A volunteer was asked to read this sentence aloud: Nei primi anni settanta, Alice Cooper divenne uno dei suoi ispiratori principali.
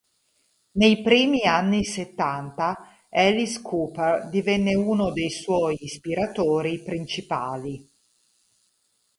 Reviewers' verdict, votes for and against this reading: accepted, 4, 0